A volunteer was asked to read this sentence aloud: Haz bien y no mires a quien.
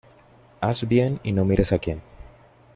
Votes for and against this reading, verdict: 2, 0, accepted